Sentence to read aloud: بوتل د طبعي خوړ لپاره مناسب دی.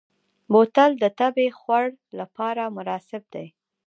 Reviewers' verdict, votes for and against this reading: rejected, 1, 2